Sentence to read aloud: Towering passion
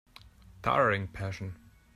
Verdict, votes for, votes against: accepted, 2, 0